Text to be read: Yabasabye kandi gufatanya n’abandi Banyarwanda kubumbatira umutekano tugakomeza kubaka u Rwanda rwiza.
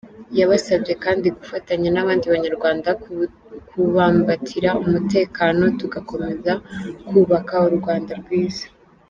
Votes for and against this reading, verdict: 0, 2, rejected